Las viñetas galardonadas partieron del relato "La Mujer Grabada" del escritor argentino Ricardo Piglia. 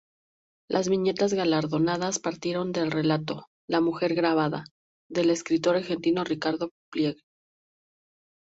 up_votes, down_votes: 0, 2